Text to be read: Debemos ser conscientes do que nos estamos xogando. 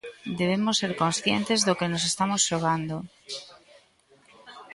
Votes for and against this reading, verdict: 2, 0, accepted